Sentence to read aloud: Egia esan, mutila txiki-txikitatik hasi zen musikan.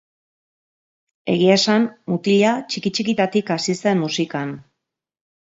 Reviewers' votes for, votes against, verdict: 2, 0, accepted